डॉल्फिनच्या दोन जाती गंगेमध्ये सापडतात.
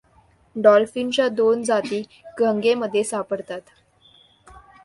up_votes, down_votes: 2, 0